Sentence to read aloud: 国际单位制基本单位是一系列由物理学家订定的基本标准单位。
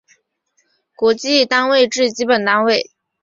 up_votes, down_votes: 0, 2